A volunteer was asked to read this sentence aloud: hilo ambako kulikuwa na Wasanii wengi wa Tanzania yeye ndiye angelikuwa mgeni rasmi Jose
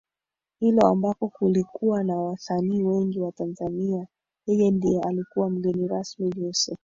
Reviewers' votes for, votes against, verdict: 2, 3, rejected